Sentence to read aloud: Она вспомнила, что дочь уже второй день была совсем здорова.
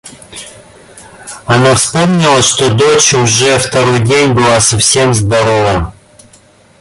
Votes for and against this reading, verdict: 1, 2, rejected